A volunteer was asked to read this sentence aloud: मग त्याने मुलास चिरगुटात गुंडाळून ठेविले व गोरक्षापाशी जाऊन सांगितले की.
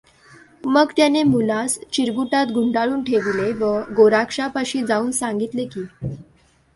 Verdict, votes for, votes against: accepted, 2, 0